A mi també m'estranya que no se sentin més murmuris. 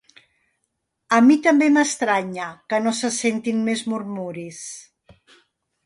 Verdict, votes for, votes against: accepted, 2, 0